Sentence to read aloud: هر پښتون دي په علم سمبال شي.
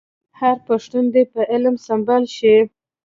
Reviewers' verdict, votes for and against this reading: accepted, 2, 0